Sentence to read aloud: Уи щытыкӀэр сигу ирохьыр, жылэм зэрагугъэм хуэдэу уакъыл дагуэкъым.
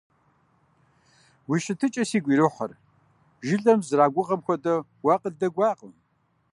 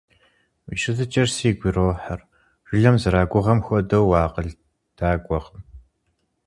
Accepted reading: second